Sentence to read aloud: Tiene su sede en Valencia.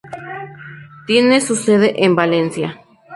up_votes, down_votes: 4, 0